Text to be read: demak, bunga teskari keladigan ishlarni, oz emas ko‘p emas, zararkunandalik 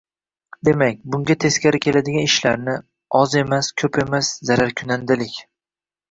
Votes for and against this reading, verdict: 2, 0, accepted